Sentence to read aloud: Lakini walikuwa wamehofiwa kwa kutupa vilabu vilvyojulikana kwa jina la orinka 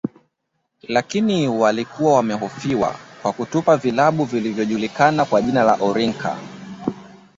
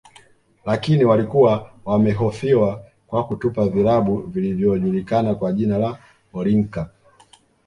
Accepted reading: second